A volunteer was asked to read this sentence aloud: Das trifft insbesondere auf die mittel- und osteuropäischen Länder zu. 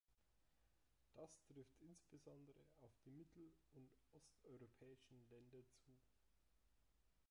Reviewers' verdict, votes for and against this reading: rejected, 0, 2